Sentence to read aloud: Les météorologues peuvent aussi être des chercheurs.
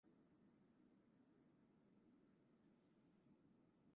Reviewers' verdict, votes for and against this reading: rejected, 0, 2